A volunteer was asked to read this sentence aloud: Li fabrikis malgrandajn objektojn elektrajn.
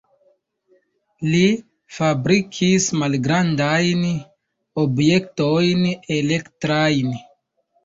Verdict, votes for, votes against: accepted, 2, 1